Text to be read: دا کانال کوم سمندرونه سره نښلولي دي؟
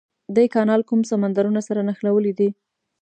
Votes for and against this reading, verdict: 2, 0, accepted